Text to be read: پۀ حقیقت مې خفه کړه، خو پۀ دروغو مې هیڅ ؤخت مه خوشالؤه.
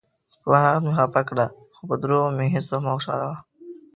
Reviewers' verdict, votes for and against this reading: rejected, 1, 2